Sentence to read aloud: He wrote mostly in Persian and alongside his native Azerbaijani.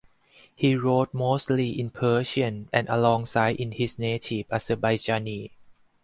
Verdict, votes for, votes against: accepted, 4, 0